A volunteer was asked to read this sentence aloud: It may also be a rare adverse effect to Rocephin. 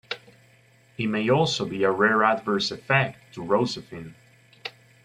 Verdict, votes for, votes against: rejected, 0, 2